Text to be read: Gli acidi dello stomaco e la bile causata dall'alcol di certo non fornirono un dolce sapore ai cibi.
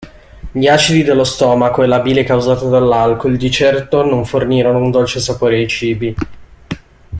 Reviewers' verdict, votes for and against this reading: accepted, 2, 0